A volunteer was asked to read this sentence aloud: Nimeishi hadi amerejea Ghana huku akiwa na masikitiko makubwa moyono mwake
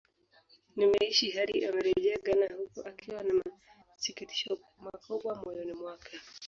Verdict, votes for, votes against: rejected, 0, 2